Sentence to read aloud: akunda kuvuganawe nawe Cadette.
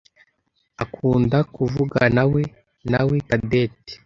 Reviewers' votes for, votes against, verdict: 1, 2, rejected